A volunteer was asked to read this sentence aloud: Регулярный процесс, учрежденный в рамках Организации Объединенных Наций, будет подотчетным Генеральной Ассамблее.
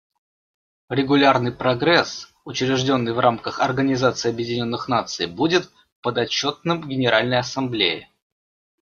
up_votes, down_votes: 1, 2